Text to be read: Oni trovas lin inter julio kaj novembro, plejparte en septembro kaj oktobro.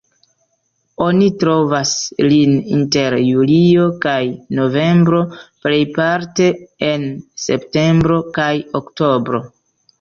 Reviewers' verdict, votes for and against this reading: rejected, 0, 2